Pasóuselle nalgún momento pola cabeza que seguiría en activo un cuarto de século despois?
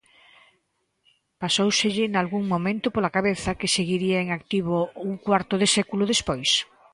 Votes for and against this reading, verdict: 3, 0, accepted